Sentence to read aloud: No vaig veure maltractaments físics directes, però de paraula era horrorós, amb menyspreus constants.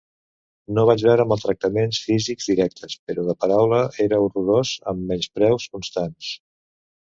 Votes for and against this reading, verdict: 2, 0, accepted